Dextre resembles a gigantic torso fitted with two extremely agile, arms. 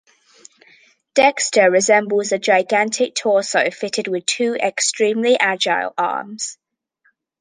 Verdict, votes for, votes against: accepted, 2, 0